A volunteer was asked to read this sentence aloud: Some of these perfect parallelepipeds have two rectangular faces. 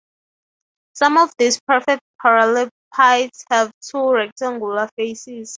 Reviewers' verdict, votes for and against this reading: accepted, 3, 0